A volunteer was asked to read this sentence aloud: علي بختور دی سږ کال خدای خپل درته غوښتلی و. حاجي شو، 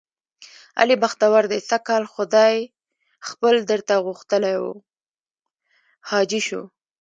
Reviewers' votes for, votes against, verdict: 1, 2, rejected